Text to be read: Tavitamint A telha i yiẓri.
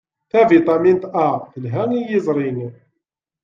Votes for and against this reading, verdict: 2, 0, accepted